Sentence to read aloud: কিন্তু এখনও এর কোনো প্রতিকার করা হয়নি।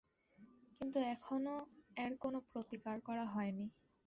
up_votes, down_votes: 5, 3